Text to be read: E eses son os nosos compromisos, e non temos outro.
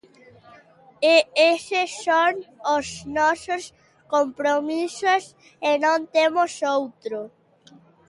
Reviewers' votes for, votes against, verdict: 2, 0, accepted